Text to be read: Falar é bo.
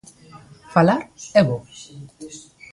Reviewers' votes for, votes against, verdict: 2, 0, accepted